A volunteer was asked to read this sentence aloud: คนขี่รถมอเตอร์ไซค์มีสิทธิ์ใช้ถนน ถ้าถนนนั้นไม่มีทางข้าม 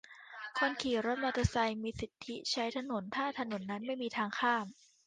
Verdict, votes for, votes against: rejected, 1, 2